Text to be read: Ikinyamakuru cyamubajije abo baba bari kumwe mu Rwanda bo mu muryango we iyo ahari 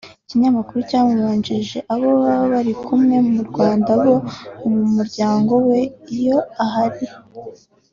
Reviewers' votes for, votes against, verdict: 3, 0, accepted